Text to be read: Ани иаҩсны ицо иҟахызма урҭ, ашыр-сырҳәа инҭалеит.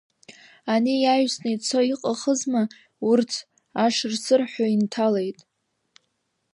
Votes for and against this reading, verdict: 2, 0, accepted